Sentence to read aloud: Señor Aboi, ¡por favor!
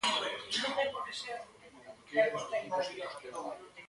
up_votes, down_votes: 0, 2